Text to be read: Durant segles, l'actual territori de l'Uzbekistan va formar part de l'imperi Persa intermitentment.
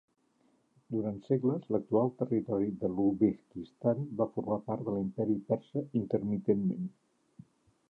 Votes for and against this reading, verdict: 1, 2, rejected